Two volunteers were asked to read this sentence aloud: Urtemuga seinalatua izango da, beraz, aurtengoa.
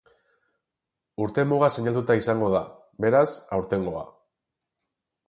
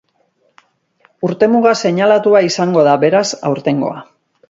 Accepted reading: second